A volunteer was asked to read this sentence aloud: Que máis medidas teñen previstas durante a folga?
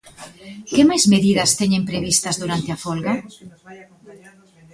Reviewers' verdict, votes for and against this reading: accepted, 2, 1